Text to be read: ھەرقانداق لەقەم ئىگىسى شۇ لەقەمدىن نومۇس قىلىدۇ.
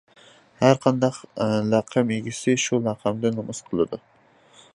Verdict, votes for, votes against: accepted, 2, 1